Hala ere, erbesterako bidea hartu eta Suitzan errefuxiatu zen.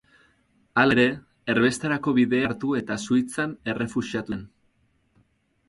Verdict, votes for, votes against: rejected, 2, 4